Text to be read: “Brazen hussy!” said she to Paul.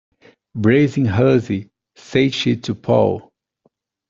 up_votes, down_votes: 2, 0